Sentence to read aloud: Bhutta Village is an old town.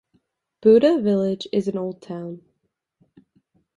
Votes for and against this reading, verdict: 2, 0, accepted